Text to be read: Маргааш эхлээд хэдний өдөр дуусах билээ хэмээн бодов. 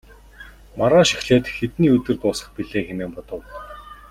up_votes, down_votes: 2, 0